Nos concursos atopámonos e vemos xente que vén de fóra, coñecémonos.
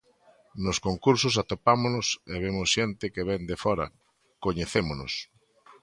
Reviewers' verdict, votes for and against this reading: accepted, 2, 0